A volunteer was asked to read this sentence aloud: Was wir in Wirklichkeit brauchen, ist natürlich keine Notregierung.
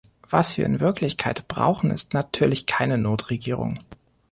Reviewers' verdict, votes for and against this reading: accepted, 2, 0